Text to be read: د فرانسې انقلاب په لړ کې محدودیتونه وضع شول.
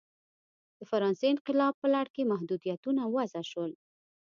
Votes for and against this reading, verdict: 2, 0, accepted